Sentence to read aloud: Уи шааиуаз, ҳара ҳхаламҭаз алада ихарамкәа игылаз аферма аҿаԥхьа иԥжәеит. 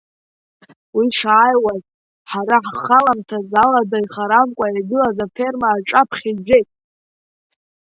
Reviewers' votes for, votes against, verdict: 2, 0, accepted